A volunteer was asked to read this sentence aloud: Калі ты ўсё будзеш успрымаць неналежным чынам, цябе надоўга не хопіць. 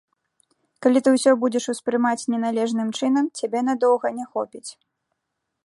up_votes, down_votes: 2, 0